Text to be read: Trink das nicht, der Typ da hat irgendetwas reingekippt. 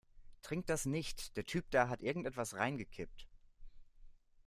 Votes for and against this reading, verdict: 2, 0, accepted